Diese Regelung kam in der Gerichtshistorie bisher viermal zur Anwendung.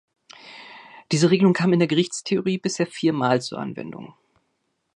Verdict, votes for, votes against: rejected, 1, 2